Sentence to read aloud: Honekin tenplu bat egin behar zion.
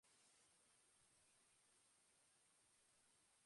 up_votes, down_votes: 0, 2